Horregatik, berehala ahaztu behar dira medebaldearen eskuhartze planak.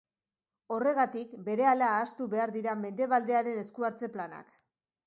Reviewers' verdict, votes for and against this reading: accepted, 2, 0